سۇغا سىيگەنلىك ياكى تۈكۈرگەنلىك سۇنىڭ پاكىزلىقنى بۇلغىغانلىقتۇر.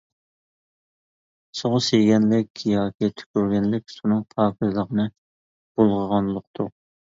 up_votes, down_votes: 1, 2